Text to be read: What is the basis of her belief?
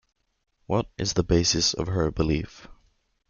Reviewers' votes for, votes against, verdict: 2, 0, accepted